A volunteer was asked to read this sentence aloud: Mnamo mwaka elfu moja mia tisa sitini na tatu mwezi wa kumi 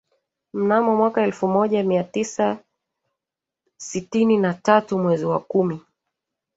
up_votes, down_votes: 1, 2